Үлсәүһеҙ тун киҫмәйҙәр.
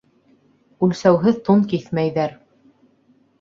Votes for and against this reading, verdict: 2, 0, accepted